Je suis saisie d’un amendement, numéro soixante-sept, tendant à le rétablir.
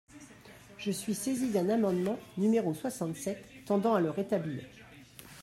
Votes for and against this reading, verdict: 2, 1, accepted